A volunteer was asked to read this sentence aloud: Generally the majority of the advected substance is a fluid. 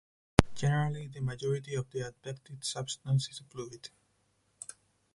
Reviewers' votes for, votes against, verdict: 0, 4, rejected